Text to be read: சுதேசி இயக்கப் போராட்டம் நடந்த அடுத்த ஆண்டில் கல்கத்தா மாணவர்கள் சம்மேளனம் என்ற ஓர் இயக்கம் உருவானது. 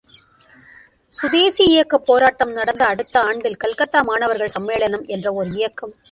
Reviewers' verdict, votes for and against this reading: rejected, 0, 2